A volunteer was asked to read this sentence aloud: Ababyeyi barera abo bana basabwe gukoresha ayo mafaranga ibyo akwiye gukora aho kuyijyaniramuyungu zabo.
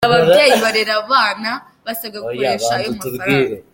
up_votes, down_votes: 0, 2